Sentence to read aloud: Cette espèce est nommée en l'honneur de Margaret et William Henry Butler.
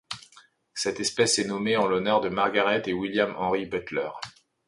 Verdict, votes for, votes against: accepted, 2, 0